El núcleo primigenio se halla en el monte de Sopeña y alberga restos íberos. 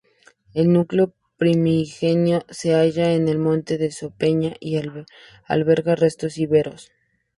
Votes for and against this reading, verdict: 2, 0, accepted